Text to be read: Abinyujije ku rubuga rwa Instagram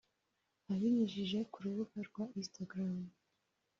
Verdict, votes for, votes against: accepted, 2, 1